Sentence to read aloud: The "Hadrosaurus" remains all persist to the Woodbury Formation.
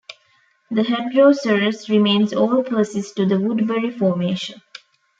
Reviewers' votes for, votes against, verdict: 1, 2, rejected